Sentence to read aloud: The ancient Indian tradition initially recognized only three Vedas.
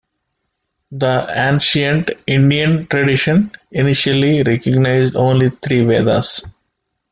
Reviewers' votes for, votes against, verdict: 2, 0, accepted